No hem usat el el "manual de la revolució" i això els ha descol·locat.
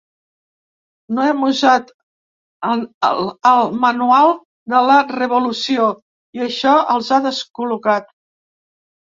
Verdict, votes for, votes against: accepted, 2, 1